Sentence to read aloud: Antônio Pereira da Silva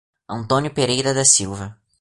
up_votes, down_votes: 2, 0